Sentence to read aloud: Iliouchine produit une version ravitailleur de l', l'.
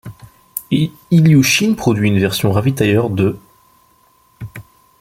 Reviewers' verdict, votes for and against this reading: rejected, 0, 2